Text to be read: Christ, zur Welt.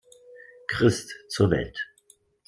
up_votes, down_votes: 2, 0